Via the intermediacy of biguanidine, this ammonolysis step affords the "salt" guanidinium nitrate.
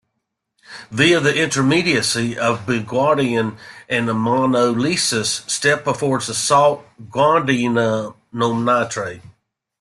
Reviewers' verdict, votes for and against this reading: rejected, 0, 2